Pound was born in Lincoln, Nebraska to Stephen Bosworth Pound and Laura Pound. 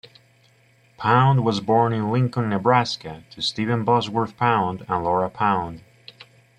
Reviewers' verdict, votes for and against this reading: rejected, 0, 2